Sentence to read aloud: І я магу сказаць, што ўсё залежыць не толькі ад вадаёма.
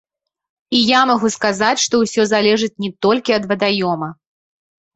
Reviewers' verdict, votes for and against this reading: accepted, 2, 0